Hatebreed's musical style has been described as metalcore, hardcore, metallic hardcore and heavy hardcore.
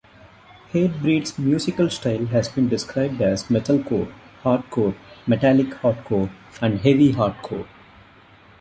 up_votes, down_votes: 1, 2